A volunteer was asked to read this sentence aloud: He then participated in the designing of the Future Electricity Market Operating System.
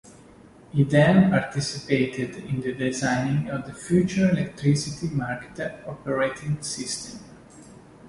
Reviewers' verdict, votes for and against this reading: rejected, 0, 2